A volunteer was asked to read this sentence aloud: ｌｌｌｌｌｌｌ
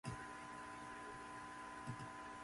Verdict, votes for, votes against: rejected, 0, 2